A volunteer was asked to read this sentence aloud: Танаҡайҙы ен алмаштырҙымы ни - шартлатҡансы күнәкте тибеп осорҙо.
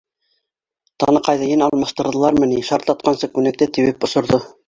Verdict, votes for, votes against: rejected, 2, 3